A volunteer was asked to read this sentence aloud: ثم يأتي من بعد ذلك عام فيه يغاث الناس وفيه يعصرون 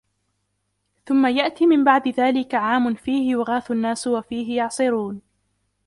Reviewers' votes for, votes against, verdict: 1, 2, rejected